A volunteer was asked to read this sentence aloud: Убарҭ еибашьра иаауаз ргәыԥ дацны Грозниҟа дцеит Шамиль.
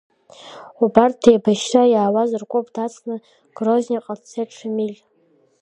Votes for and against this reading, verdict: 2, 0, accepted